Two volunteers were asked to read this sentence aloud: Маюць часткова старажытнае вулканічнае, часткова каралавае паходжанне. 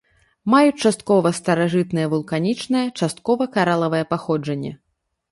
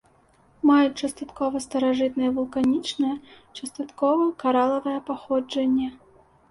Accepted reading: first